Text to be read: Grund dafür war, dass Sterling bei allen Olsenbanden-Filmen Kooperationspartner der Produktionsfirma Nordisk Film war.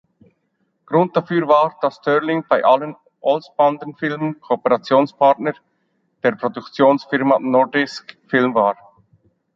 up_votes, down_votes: 1, 2